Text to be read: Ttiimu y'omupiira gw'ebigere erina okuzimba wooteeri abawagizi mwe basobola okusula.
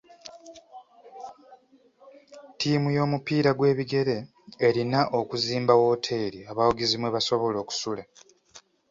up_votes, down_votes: 2, 0